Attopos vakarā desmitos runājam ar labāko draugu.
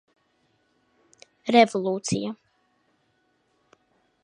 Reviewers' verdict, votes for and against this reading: rejected, 0, 2